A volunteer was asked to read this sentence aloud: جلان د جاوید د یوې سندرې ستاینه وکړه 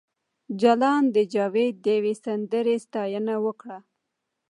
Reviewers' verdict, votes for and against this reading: rejected, 1, 2